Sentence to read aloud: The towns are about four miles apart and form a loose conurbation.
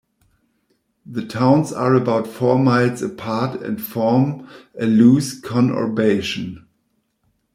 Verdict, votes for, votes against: accepted, 2, 1